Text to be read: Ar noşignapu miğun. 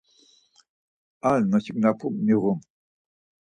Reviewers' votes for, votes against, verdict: 4, 0, accepted